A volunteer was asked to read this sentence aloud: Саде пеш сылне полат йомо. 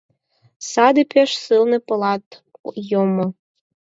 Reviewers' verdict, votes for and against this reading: accepted, 4, 2